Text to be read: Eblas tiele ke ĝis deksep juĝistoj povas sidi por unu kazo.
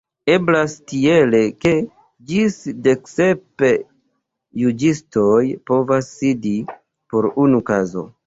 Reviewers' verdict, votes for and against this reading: accepted, 2, 1